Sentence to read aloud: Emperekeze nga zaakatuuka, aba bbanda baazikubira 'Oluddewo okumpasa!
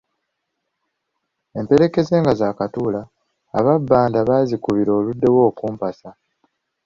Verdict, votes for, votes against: rejected, 0, 2